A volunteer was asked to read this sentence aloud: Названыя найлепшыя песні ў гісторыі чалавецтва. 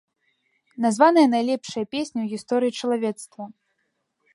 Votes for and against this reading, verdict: 2, 0, accepted